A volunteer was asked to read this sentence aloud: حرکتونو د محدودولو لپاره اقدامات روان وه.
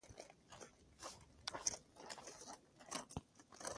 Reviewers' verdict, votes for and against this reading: rejected, 0, 2